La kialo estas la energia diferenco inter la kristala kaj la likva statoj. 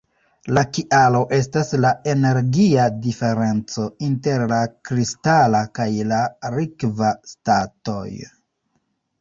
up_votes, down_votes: 1, 2